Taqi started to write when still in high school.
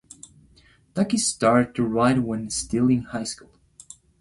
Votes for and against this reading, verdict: 1, 2, rejected